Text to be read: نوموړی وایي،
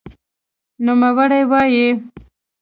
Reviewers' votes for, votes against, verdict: 2, 0, accepted